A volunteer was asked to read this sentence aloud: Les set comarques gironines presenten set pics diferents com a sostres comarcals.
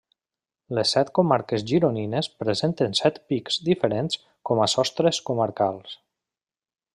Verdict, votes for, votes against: accepted, 2, 0